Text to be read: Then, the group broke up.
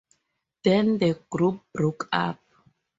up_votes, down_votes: 2, 4